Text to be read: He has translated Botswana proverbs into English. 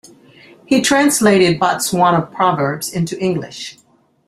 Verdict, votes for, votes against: accepted, 2, 1